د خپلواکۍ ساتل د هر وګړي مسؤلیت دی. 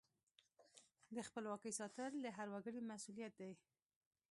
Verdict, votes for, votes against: accepted, 2, 0